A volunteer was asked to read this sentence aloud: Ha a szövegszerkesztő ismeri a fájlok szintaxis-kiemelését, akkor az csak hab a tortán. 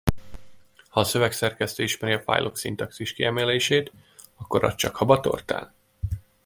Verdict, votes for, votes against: accepted, 2, 0